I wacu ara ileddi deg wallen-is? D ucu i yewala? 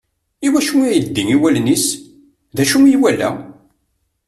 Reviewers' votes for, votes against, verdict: 0, 2, rejected